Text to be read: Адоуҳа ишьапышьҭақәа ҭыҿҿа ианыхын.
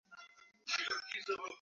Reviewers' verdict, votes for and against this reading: rejected, 0, 2